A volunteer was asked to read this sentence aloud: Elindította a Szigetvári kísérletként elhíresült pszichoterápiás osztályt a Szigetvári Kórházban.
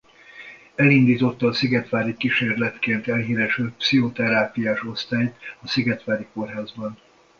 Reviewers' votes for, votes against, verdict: 2, 1, accepted